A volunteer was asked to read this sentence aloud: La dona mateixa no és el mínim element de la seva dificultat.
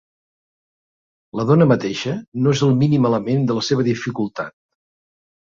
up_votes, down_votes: 2, 0